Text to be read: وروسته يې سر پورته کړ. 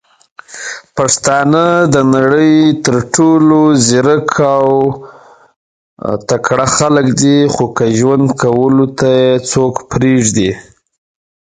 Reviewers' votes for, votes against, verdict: 0, 2, rejected